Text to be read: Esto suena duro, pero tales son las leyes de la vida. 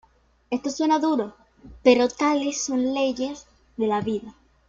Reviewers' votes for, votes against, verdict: 2, 0, accepted